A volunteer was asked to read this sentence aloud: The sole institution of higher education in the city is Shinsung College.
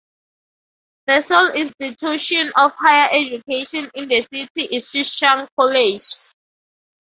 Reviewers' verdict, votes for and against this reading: rejected, 0, 2